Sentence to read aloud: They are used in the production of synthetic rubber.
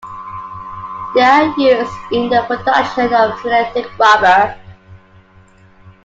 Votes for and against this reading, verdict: 0, 2, rejected